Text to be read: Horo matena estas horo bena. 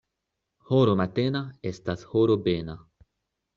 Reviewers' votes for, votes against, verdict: 2, 0, accepted